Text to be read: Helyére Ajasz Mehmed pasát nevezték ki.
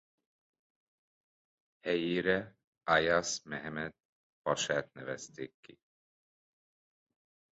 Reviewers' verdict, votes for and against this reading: rejected, 0, 2